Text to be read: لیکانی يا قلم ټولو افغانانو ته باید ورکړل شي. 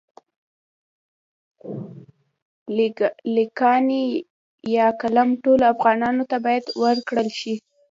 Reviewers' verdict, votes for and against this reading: rejected, 0, 3